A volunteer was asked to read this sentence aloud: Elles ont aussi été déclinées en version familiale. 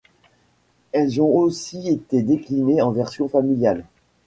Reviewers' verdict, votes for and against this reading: accepted, 2, 0